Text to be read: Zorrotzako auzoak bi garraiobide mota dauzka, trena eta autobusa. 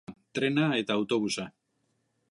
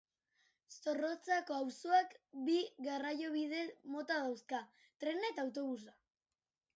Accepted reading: second